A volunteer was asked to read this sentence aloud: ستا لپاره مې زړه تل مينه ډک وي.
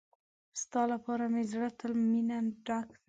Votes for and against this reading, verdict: 2, 0, accepted